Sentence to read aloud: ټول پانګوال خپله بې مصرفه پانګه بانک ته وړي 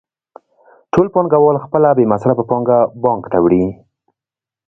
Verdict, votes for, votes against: rejected, 1, 2